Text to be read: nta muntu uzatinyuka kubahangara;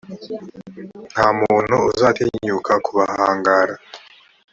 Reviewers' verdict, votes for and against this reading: accepted, 3, 0